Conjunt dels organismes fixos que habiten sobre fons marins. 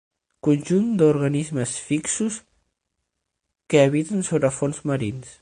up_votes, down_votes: 0, 6